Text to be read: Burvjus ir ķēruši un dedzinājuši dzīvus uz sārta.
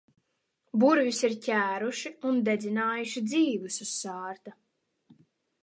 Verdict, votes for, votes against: accepted, 2, 0